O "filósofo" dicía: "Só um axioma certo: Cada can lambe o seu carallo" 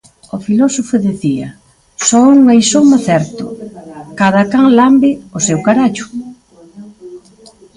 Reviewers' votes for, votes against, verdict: 1, 3, rejected